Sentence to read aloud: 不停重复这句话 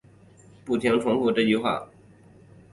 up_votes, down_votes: 2, 0